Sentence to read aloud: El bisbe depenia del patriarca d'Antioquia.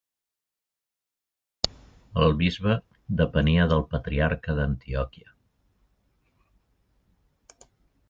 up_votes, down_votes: 2, 0